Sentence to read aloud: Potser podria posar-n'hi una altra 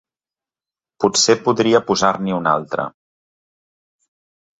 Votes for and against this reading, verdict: 2, 0, accepted